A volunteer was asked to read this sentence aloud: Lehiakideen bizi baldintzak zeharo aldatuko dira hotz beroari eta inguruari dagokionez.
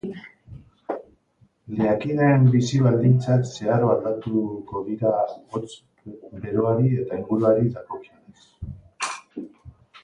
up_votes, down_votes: 0, 2